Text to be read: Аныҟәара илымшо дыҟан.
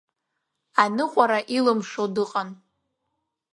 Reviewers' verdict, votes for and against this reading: accepted, 2, 0